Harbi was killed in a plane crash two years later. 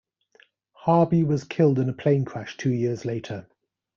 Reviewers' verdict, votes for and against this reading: accepted, 2, 0